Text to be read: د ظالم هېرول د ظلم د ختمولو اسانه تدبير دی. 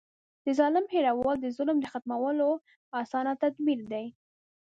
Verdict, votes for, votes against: accepted, 2, 0